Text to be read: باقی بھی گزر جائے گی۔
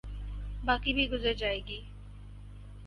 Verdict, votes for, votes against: accepted, 4, 0